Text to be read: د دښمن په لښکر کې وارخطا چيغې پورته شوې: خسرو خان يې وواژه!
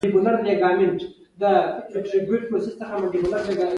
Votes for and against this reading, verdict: 0, 2, rejected